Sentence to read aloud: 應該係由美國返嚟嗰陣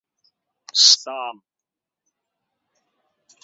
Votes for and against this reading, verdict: 0, 2, rejected